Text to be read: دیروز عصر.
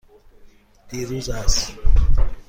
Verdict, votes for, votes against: accepted, 2, 0